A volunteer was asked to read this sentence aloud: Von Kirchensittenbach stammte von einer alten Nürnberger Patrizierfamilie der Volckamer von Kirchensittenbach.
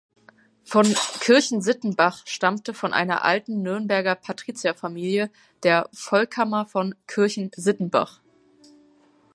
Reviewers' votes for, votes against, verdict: 2, 0, accepted